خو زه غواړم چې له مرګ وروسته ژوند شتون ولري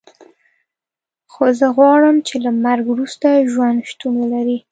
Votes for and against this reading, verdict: 2, 0, accepted